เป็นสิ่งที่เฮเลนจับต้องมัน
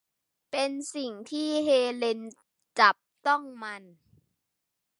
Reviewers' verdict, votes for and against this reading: accepted, 3, 0